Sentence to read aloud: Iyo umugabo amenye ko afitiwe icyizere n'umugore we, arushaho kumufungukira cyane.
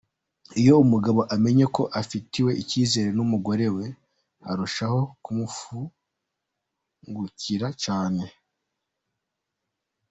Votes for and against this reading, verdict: 2, 1, accepted